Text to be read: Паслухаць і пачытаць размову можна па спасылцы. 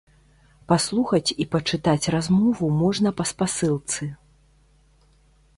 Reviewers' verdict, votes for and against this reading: accepted, 2, 0